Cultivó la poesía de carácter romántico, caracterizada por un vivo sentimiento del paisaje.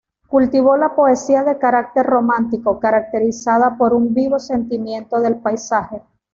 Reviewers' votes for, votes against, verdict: 2, 0, accepted